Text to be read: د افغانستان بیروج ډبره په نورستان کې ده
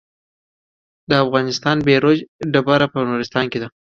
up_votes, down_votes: 2, 1